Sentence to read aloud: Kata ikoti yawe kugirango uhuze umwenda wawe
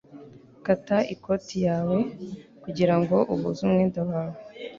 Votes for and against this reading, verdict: 2, 1, accepted